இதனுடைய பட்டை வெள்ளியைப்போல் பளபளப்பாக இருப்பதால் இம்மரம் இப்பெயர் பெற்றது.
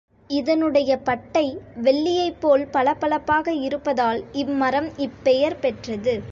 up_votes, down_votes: 2, 0